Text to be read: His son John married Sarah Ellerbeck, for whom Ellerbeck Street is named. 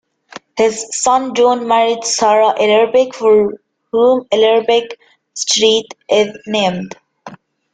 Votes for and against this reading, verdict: 0, 2, rejected